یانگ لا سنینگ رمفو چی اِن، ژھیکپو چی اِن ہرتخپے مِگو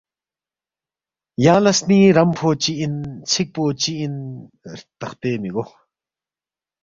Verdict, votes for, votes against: accepted, 2, 0